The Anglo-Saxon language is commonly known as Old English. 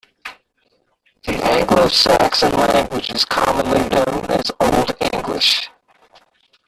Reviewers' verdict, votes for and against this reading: rejected, 0, 2